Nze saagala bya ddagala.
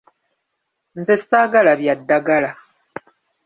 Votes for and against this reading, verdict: 1, 2, rejected